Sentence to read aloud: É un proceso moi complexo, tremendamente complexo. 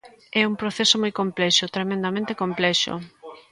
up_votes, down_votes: 1, 2